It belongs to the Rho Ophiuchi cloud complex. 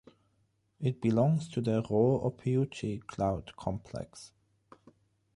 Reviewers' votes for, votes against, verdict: 0, 3, rejected